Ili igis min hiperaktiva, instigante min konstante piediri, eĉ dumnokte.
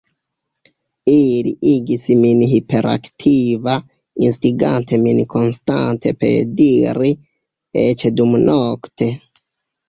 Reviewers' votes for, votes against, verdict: 0, 2, rejected